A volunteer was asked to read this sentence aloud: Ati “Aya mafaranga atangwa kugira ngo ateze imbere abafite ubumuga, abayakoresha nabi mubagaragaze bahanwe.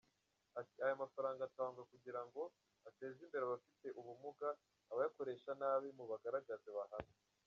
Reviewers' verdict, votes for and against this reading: rejected, 1, 2